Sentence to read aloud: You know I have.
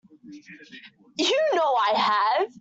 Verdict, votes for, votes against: accepted, 2, 1